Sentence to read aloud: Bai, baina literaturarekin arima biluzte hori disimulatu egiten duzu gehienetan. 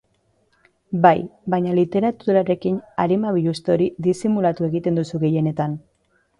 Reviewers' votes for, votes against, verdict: 2, 0, accepted